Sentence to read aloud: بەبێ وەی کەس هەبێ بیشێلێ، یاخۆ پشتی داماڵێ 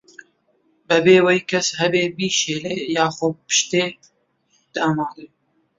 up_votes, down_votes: 0, 2